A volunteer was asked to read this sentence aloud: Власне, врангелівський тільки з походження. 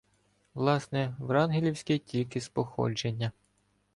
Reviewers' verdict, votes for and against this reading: accepted, 2, 0